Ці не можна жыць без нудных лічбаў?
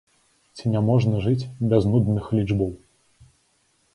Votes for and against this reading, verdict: 0, 2, rejected